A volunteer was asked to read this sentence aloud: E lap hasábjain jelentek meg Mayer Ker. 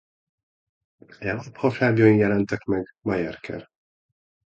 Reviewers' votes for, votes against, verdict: 1, 2, rejected